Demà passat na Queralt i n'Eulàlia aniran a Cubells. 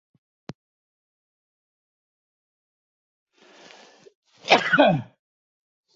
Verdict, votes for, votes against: rejected, 0, 2